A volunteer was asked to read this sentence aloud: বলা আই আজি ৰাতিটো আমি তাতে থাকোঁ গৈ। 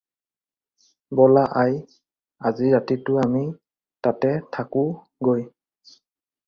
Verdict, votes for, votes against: accepted, 4, 0